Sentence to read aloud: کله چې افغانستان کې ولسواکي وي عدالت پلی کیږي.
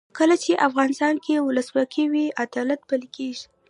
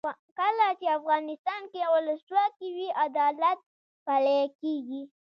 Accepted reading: first